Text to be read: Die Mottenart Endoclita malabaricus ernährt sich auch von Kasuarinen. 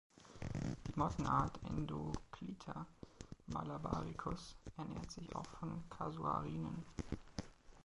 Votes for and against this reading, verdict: 0, 2, rejected